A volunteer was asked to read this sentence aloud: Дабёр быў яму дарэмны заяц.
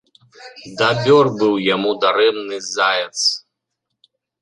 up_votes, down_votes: 0, 2